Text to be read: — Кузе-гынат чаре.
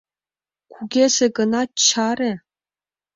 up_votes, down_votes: 1, 2